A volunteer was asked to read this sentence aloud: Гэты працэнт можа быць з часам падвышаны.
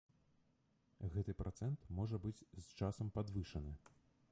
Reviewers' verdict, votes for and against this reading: rejected, 0, 2